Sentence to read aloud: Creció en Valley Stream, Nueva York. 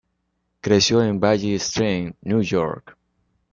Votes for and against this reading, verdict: 1, 2, rejected